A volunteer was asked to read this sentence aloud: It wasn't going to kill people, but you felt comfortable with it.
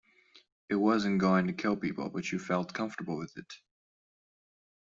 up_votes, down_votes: 1, 2